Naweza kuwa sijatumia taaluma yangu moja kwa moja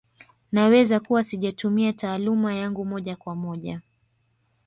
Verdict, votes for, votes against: rejected, 1, 2